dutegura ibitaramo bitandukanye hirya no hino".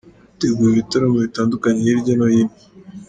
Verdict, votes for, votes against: rejected, 1, 2